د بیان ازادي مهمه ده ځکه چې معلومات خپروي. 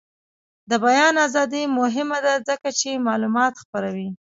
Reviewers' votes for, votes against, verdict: 2, 1, accepted